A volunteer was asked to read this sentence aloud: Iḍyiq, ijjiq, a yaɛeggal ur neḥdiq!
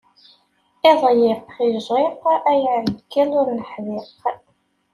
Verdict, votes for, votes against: rejected, 0, 2